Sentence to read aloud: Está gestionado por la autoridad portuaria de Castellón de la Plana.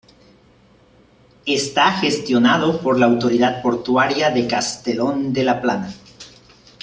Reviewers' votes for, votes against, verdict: 0, 3, rejected